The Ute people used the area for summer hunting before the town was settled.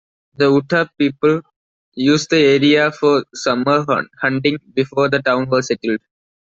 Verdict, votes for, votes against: rejected, 1, 2